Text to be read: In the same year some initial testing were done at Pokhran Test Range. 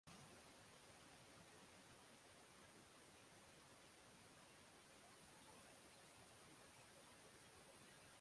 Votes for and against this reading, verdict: 0, 6, rejected